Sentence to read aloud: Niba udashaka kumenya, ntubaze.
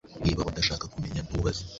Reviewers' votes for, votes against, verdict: 2, 1, accepted